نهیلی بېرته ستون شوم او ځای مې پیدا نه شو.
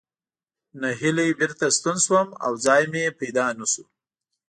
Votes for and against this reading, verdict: 2, 0, accepted